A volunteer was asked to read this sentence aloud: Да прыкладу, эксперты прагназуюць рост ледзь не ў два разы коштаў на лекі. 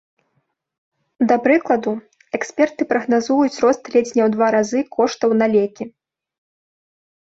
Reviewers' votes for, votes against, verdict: 2, 0, accepted